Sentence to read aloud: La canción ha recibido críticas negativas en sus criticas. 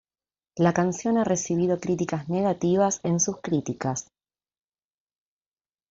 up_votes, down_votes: 1, 2